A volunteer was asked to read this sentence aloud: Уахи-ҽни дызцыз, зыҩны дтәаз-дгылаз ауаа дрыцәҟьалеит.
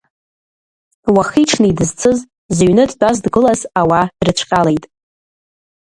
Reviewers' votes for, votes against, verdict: 0, 2, rejected